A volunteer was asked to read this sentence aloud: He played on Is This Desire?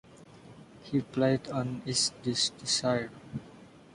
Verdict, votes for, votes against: accepted, 2, 0